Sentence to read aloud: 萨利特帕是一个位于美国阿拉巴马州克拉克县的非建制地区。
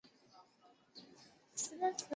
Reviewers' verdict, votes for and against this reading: rejected, 1, 2